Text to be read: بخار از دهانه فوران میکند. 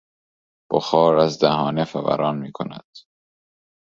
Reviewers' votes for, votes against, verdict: 2, 0, accepted